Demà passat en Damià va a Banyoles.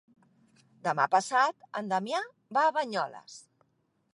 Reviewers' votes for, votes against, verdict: 3, 0, accepted